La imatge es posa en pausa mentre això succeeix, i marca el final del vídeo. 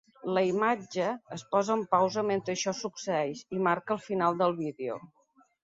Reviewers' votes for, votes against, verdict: 2, 0, accepted